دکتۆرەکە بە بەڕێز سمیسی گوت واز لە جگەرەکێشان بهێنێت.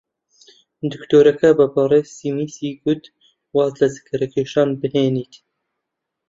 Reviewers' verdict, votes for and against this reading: rejected, 0, 2